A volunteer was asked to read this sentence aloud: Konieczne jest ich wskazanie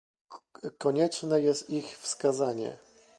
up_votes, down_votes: 0, 2